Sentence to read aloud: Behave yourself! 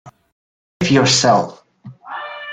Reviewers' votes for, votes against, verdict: 0, 2, rejected